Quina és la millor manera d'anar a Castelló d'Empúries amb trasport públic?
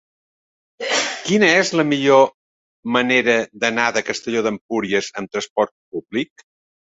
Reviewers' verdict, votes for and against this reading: rejected, 0, 2